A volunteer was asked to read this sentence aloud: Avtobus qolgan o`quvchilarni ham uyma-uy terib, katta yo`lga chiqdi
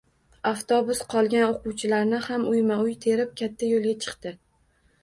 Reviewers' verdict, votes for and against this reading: accepted, 2, 0